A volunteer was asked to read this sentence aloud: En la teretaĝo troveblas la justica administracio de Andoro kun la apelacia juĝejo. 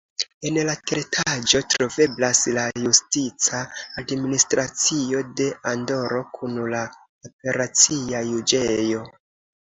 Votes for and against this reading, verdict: 0, 2, rejected